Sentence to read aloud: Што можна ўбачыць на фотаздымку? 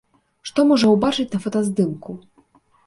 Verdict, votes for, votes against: rejected, 1, 2